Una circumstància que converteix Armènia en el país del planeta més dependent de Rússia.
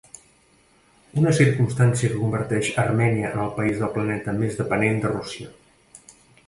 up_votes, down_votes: 1, 2